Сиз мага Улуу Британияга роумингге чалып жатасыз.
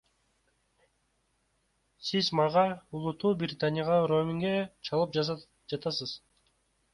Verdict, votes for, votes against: accepted, 2, 1